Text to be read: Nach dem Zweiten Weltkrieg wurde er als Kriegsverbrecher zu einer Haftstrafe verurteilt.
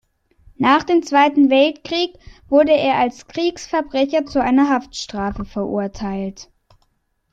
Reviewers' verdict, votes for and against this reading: accepted, 2, 0